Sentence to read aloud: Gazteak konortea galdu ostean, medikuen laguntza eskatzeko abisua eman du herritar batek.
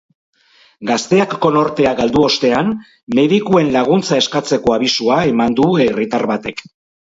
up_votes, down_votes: 4, 0